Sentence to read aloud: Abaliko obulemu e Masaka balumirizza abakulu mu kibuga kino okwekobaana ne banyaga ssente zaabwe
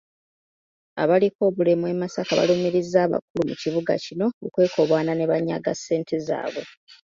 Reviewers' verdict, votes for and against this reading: accepted, 2, 0